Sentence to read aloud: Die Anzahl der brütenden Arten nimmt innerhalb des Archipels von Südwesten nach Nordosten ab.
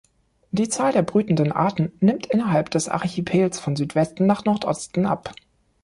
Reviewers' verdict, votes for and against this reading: rejected, 2, 3